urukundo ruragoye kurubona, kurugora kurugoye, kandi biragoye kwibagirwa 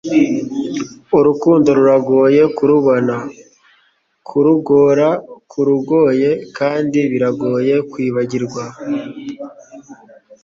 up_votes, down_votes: 0, 2